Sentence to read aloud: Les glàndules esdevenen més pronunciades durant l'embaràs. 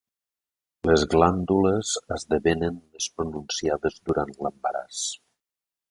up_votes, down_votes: 0, 2